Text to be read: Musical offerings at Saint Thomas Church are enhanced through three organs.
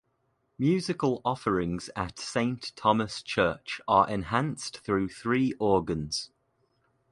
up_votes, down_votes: 2, 0